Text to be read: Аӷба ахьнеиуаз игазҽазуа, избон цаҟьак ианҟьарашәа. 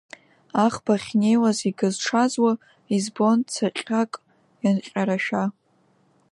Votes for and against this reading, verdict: 0, 2, rejected